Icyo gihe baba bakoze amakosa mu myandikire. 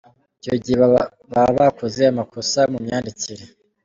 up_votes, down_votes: 2, 1